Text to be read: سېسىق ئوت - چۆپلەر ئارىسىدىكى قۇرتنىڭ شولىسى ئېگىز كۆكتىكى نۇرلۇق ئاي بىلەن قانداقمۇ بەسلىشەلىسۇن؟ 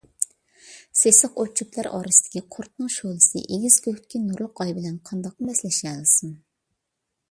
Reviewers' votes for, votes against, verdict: 2, 0, accepted